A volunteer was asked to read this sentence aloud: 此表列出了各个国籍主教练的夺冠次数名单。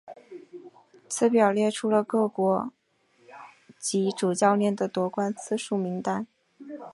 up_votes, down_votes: 1, 2